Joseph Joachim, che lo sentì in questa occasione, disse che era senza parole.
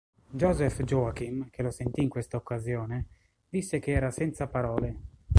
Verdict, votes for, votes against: rejected, 0, 2